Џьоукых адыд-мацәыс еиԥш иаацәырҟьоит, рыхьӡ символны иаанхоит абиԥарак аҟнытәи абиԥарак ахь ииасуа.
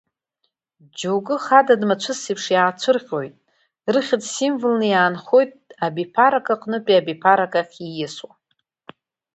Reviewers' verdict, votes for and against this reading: accepted, 4, 0